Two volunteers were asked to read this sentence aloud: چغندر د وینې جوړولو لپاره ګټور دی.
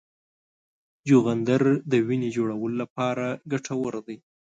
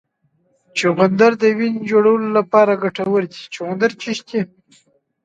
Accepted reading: first